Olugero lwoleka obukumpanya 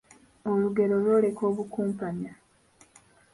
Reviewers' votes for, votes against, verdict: 2, 0, accepted